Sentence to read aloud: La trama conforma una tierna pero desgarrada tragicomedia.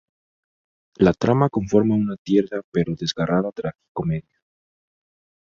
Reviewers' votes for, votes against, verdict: 4, 0, accepted